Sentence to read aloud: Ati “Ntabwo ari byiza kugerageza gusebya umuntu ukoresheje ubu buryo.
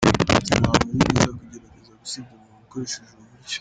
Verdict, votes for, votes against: rejected, 1, 3